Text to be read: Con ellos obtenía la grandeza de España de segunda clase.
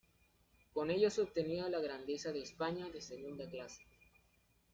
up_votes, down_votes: 0, 2